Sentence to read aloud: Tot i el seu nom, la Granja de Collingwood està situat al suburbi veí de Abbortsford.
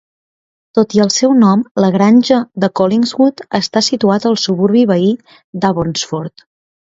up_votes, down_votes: 2, 0